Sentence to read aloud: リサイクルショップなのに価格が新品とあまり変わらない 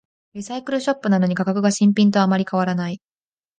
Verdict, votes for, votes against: accepted, 2, 0